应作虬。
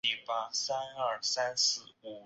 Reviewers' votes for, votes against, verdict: 0, 2, rejected